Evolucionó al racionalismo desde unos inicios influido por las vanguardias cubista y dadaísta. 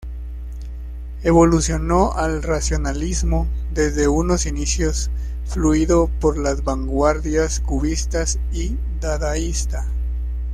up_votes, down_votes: 0, 2